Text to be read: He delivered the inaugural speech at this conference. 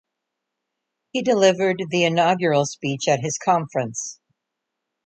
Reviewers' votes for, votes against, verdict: 1, 2, rejected